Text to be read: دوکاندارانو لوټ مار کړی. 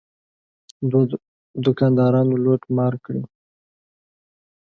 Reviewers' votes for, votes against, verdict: 2, 0, accepted